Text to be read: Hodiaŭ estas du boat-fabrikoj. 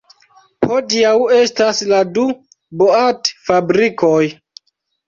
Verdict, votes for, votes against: accepted, 2, 1